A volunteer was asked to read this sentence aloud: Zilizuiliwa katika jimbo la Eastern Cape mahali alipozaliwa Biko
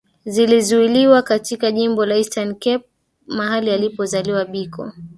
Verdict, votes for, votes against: rejected, 1, 2